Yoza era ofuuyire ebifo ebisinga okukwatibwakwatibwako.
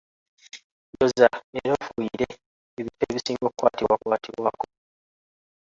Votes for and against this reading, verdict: 0, 2, rejected